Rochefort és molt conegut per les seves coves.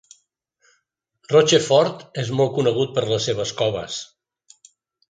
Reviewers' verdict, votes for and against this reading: accepted, 2, 0